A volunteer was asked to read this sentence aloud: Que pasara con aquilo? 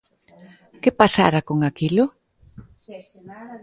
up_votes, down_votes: 1, 2